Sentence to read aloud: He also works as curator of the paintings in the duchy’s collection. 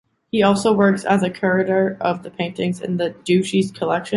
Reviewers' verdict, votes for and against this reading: rejected, 0, 3